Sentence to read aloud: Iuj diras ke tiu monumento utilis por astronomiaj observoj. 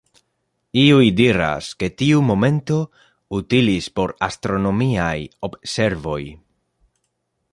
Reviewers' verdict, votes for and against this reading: rejected, 0, 2